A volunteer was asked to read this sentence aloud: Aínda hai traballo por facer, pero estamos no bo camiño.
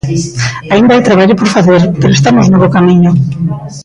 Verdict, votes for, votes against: accepted, 2, 0